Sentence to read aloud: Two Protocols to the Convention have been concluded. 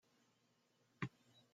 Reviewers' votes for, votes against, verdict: 0, 2, rejected